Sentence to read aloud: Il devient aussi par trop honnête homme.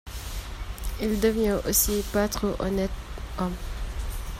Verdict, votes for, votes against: rejected, 0, 2